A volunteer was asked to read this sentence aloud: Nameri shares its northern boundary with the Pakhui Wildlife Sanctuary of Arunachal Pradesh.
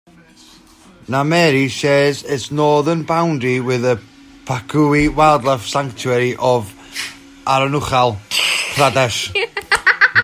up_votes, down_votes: 1, 2